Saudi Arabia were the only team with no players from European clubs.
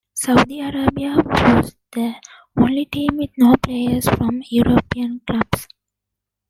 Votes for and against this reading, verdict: 0, 2, rejected